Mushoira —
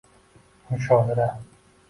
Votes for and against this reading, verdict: 1, 2, rejected